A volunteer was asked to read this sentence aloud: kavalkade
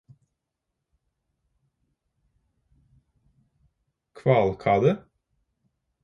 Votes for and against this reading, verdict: 0, 4, rejected